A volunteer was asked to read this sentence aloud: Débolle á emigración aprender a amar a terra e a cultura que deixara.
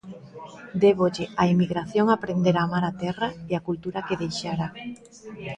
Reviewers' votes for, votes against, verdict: 2, 0, accepted